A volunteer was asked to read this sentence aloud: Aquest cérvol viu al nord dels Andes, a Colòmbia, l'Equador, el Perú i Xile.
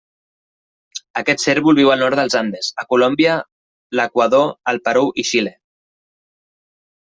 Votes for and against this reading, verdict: 2, 0, accepted